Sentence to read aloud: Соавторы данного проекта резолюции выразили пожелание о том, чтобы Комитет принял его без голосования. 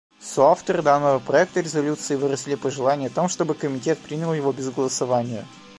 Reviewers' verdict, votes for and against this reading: rejected, 0, 2